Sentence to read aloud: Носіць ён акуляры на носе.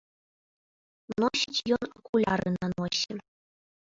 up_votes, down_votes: 0, 2